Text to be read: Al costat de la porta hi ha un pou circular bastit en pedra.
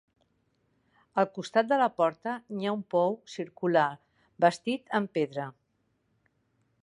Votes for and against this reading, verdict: 1, 2, rejected